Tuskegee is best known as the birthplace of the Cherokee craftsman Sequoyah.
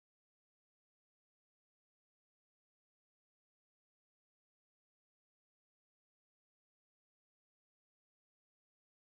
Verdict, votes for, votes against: rejected, 0, 2